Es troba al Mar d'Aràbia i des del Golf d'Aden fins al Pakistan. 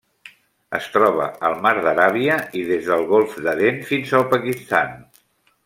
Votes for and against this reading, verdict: 2, 0, accepted